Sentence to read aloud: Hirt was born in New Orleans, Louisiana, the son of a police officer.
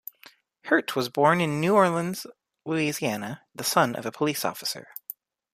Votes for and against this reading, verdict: 2, 0, accepted